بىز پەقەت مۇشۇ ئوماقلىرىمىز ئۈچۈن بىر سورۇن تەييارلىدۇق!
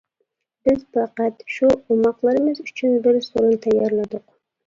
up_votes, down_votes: 0, 2